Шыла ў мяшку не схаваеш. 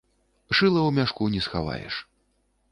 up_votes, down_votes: 3, 0